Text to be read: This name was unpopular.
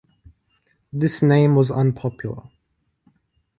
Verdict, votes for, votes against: accepted, 2, 0